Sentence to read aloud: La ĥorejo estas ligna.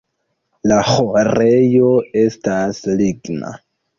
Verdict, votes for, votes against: accepted, 2, 0